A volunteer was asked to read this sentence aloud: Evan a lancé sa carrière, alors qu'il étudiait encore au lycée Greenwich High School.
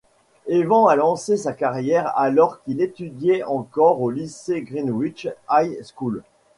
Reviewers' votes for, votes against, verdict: 1, 2, rejected